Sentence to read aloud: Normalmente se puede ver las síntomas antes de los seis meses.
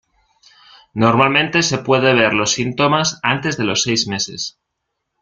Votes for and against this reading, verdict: 0, 2, rejected